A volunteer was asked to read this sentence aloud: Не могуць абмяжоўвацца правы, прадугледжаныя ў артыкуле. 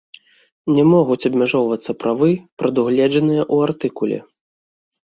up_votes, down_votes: 1, 2